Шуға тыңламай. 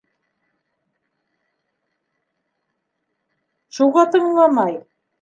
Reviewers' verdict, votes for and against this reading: rejected, 1, 2